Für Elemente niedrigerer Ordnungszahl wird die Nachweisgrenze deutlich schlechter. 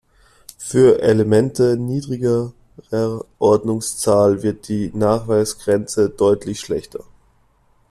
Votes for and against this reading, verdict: 1, 2, rejected